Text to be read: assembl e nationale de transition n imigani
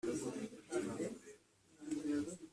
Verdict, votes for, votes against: rejected, 0, 2